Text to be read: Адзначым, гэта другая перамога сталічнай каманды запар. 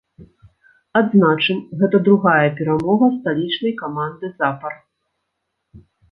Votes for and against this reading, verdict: 1, 2, rejected